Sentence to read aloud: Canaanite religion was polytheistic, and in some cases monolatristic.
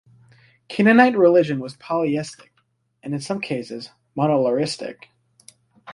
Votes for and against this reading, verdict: 1, 2, rejected